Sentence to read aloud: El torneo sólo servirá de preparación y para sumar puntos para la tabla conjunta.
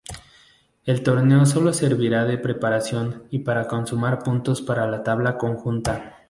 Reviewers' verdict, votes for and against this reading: rejected, 0, 2